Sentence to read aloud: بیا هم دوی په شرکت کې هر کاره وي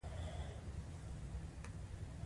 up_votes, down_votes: 2, 1